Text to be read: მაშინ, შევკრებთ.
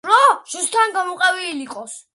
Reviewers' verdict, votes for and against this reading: rejected, 0, 2